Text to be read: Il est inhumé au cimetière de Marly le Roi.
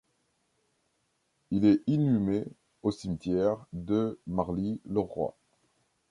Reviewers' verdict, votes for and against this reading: accepted, 2, 0